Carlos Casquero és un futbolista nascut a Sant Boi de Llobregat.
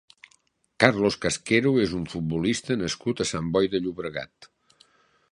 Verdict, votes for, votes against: accepted, 4, 0